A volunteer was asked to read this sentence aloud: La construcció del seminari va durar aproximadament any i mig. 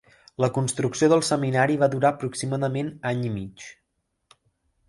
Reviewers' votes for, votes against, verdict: 3, 0, accepted